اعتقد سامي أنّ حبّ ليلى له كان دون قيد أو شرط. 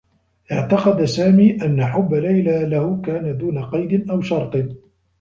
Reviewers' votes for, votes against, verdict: 2, 0, accepted